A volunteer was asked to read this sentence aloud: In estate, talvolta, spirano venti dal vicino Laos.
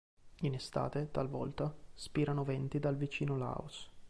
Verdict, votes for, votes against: accepted, 2, 0